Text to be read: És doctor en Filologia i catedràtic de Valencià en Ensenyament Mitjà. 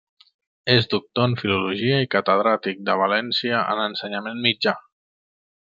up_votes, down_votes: 2, 3